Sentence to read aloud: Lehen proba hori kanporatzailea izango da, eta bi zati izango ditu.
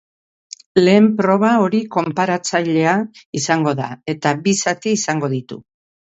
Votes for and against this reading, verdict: 0, 2, rejected